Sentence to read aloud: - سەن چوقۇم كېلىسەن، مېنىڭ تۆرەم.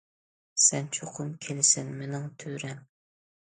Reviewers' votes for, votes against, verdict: 2, 0, accepted